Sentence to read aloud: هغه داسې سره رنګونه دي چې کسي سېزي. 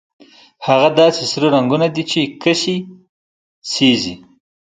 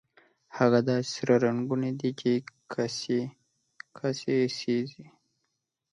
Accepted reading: first